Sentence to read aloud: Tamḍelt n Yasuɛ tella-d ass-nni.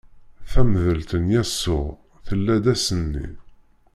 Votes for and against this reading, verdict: 1, 2, rejected